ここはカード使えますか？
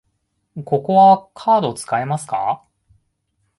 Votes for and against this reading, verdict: 2, 0, accepted